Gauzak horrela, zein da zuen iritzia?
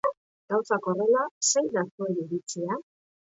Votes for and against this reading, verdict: 2, 3, rejected